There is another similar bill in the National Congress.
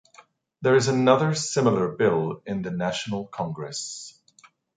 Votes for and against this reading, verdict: 2, 0, accepted